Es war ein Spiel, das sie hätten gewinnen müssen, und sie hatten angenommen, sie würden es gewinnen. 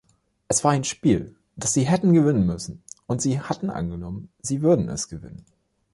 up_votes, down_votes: 2, 0